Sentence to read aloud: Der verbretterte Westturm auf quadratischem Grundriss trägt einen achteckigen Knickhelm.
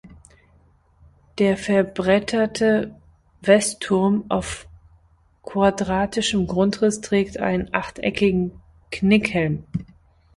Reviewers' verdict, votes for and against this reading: accepted, 2, 0